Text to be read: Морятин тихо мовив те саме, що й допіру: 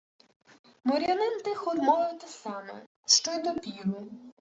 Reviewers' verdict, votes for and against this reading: accepted, 2, 0